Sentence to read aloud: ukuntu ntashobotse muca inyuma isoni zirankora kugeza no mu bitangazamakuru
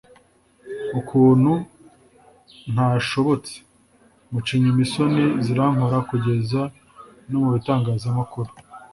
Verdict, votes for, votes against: accepted, 2, 0